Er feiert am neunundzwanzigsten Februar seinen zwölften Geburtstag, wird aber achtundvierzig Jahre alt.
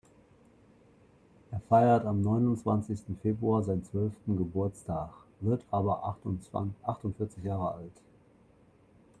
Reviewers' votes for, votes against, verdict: 0, 2, rejected